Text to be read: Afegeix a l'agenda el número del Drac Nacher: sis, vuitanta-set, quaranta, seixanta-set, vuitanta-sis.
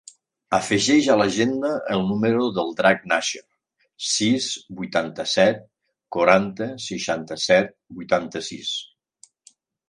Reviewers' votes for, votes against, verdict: 2, 0, accepted